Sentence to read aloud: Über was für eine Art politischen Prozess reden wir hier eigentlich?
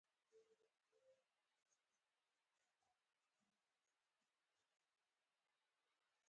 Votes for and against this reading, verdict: 0, 4, rejected